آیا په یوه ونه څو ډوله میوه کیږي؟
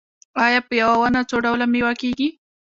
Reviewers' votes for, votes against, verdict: 2, 0, accepted